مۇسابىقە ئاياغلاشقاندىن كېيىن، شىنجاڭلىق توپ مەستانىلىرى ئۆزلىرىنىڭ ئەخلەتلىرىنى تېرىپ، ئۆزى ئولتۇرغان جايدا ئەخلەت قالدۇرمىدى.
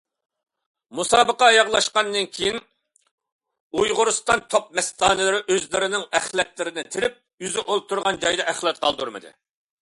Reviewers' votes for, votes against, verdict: 0, 2, rejected